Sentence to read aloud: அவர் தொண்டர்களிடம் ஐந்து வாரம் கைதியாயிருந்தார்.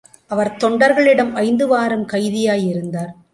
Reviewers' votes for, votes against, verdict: 2, 0, accepted